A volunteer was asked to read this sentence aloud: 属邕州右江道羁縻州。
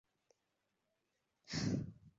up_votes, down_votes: 0, 5